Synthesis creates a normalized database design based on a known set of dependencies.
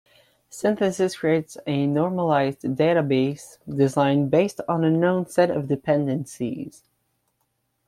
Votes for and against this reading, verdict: 2, 0, accepted